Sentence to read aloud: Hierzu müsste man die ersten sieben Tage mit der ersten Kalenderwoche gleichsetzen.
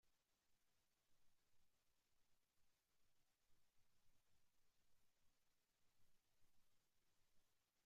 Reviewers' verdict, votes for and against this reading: rejected, 0, 2